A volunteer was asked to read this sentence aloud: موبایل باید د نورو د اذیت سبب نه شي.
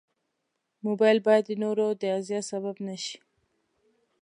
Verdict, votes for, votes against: accepted, 2, 0